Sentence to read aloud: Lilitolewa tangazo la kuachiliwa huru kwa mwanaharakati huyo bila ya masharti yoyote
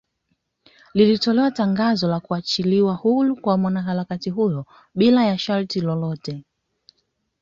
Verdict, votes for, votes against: accepted, 2, 0